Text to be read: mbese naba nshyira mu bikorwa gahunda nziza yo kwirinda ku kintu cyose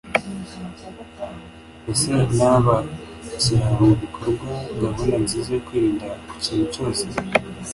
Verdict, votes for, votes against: accepted, 2, 0